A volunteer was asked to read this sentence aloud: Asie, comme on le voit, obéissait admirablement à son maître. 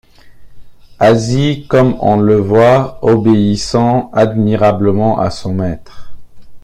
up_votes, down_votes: 0, 2